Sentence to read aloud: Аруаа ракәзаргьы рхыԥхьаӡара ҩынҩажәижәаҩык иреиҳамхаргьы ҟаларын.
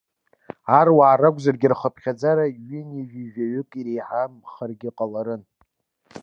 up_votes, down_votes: 2, 0